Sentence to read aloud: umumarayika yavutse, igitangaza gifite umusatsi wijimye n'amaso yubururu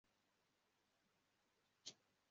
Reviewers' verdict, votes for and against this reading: rejected, 0, 2